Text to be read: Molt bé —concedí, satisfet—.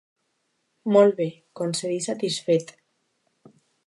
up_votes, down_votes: 2, 0